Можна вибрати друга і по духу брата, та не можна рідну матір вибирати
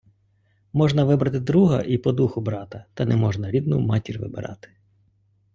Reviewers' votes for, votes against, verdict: 2, 0, accepted